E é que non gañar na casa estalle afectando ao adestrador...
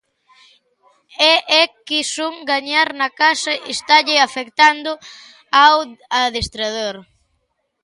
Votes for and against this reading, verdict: 0, 2, rejected